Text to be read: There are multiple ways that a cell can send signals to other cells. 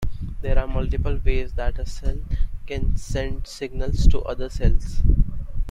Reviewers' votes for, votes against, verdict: 2, 0, accepted